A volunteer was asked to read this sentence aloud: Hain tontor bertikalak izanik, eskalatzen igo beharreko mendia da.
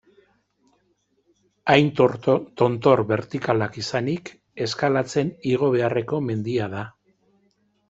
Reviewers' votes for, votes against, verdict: 0, 2, rejected